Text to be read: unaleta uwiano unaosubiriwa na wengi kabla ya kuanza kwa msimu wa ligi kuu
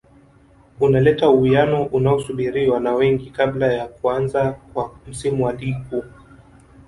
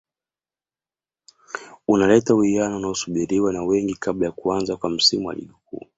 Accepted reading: second